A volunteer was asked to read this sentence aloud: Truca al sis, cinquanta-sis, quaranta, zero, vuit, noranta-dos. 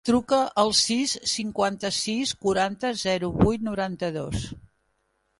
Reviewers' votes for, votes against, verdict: 3, 0, accepted